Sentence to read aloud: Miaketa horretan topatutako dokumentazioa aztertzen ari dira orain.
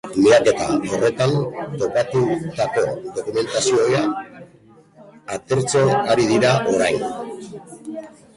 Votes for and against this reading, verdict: 1, 2, rejected